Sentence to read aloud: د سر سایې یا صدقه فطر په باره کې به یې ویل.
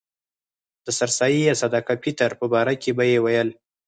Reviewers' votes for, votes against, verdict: 0, 4, rejected